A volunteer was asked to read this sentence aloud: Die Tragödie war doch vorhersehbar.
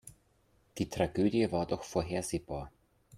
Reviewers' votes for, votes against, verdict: 2, 0, accepted